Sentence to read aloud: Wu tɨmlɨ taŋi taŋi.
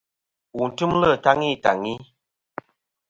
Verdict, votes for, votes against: accepted, 2, 0